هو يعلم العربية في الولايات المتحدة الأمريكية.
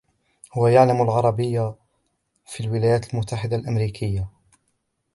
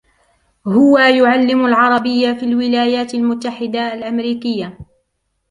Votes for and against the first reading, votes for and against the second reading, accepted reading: 0, 2, 2, 0, second